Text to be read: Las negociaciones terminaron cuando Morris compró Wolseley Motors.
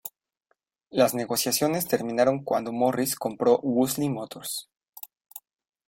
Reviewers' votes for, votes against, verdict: 2, 0, accepted